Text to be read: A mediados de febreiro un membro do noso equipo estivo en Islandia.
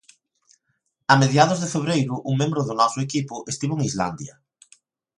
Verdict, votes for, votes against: accepted, 3, 0